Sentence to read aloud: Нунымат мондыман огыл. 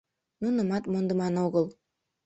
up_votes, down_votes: 2, 0